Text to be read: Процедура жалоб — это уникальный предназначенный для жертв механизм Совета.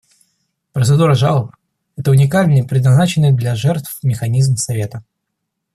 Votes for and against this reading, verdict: 2, 0, accepted